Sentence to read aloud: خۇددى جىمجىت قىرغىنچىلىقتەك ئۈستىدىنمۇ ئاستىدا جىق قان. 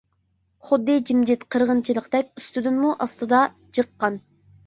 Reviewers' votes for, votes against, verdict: 2, 0, accepted